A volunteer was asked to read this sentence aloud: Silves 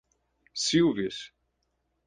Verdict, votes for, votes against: accepted, 4, 0